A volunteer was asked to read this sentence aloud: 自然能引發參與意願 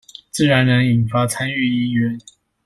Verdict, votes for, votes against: accepted, 2, 0